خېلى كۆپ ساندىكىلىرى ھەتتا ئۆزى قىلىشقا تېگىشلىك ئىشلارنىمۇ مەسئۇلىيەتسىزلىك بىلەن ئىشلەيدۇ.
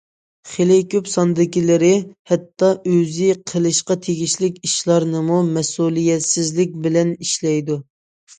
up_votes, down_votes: 2, 0